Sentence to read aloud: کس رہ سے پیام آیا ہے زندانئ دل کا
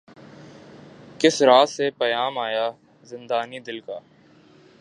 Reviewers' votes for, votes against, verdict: 4, 1, accepted